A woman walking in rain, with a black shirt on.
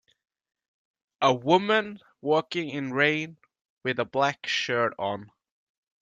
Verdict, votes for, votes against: accepted, 2, 0